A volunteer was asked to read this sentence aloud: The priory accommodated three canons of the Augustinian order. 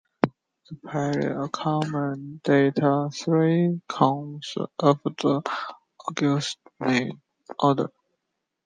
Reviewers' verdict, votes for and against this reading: rejected, 0, 2